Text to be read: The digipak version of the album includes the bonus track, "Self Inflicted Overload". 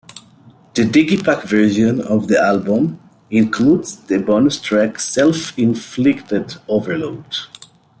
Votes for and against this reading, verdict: 2, 1, accepted